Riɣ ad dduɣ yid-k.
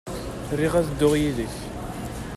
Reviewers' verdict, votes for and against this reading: accepted, 2, 0